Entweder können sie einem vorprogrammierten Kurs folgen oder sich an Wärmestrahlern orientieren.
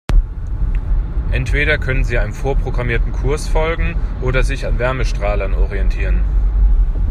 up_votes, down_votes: 2, 0